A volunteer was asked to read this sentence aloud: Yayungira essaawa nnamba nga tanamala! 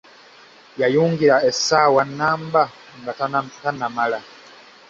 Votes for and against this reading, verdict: 0, 2, rejected